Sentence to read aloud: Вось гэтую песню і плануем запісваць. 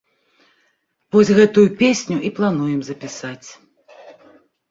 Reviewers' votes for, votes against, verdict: 0, 2, rejected